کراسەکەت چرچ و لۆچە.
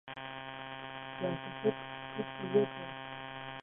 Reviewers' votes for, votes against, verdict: 0, 2, rejected